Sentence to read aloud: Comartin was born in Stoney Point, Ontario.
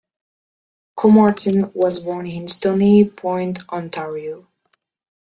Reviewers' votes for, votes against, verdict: 2, 1, accepted